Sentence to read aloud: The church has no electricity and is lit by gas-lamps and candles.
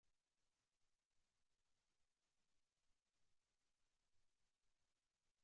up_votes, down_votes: 0, 2